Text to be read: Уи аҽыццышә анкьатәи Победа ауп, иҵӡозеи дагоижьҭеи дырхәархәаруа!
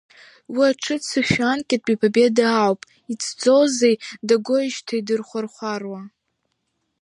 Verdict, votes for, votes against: accepted, 3, 1